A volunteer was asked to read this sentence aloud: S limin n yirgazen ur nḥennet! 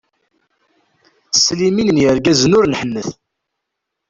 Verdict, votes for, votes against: rejected, 1, 2